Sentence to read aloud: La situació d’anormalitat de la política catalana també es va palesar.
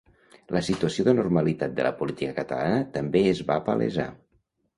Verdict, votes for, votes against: accepted, 3, 0